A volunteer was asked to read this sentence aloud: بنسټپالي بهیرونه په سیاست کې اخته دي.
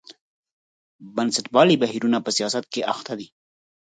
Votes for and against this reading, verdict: 4, 0, accepted